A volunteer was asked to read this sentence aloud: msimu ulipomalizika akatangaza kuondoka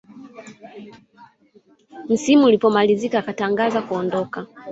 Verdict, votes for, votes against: accepted, 2, 0